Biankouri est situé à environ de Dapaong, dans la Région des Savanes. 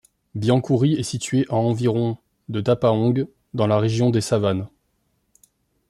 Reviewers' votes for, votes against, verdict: 1, 2, rejected